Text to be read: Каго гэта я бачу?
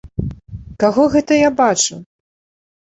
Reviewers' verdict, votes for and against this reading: accepted, 2, 0